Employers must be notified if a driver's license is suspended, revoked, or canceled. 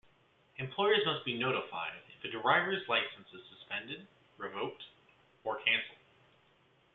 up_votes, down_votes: 2, 1